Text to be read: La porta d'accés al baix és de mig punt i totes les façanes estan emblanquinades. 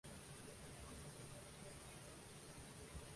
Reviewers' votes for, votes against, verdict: 0, 2, rejected